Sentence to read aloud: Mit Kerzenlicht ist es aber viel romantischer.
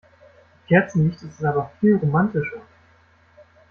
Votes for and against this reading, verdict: 0, 2, rejected